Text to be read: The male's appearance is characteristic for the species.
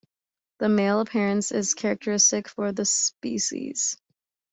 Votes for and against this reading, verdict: 0, 2, rejected